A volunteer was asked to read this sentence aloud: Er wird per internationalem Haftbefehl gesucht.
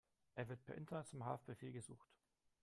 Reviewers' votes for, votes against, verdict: 1, 2, rejected